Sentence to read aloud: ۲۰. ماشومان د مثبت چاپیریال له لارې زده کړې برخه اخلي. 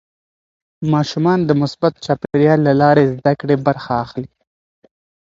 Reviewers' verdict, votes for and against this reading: rejected, 0, 2